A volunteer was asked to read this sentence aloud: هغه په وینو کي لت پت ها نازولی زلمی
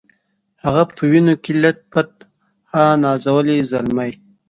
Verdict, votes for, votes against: accepted, 2, 0